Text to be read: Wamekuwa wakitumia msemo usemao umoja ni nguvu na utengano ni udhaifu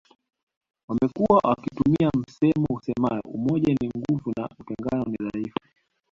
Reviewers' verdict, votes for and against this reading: accepted, 2, 0